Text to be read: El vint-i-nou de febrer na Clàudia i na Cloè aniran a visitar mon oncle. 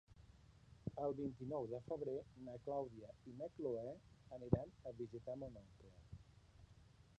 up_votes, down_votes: 1, 3